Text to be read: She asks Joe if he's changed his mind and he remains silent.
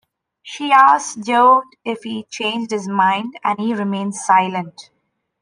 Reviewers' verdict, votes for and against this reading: accepted, 2, 0